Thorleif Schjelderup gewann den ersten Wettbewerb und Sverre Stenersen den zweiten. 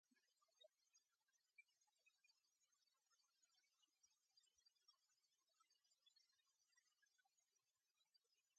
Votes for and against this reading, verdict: 0, 2, rejected